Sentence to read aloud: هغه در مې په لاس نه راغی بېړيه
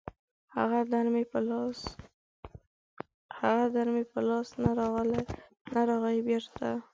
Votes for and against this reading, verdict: 0, 4, rejected